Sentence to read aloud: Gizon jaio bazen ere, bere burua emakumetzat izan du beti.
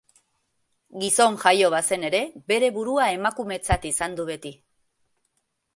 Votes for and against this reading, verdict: 2, 0, accepted